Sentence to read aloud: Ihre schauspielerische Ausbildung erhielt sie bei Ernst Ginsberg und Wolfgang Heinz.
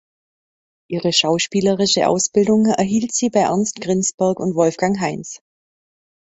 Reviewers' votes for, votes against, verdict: 2, 1, accepted